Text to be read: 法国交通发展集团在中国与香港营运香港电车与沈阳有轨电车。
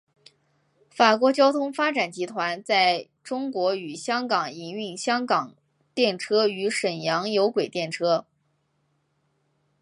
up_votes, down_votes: 2, 0